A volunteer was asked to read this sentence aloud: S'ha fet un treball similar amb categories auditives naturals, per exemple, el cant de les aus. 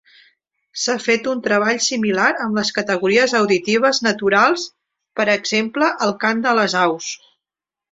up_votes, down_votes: 1, 2